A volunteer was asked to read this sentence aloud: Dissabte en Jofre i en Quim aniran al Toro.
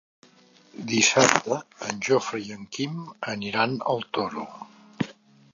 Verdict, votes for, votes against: accepted, 3, 0